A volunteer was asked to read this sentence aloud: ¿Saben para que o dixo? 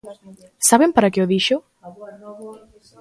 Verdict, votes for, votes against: rejected, 1, 2